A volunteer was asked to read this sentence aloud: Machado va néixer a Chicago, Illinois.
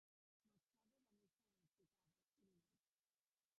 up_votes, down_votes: 0, 3